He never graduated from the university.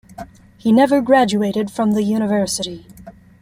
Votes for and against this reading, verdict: 2, 0, accepted